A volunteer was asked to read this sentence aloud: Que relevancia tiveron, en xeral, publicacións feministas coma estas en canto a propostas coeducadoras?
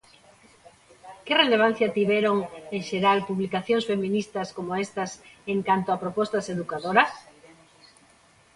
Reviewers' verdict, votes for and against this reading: rejected, 0, 2